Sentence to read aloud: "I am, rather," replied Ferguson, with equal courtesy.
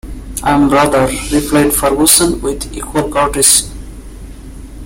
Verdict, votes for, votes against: rejected, 0, 2